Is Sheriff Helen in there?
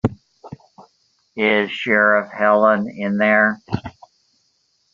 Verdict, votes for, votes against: accepted, 2, 0